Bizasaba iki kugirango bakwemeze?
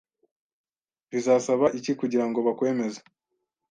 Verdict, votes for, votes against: accepted, 2, 0